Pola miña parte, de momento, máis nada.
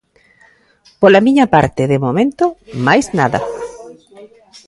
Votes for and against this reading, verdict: 1, 2, rejected